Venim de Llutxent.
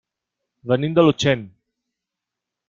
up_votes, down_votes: 1, 2